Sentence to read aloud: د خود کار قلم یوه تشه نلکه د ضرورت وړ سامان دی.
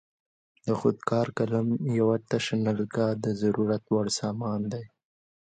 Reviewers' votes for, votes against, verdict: 2, 0, accepted